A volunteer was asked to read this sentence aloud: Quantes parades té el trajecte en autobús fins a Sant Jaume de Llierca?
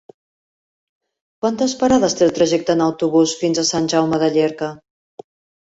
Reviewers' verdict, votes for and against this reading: accepted, 2, 0